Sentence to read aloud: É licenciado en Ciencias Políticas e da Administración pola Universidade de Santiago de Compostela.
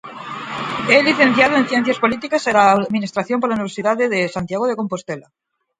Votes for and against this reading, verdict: 2, 4, rejected